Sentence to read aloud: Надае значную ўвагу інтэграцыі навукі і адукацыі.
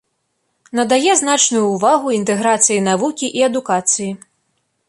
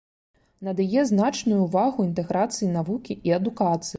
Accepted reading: first